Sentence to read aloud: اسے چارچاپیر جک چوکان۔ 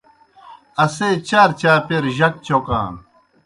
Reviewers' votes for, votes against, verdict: 2, 0, accepted